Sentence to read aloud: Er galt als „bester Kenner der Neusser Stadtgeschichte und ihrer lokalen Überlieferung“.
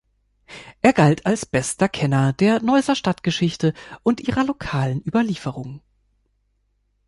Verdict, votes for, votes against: accepted, 2, 0